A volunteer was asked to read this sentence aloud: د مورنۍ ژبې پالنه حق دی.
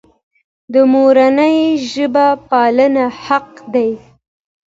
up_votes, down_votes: 2, 0